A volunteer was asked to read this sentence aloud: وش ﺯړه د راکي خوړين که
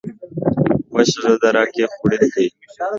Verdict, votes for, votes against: rejected, 1, 2